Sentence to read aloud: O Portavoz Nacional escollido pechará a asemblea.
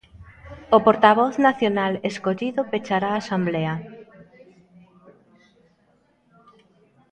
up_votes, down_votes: 0, 2